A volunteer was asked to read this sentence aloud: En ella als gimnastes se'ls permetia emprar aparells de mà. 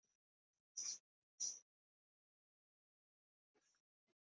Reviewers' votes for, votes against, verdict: 0, 2, rejected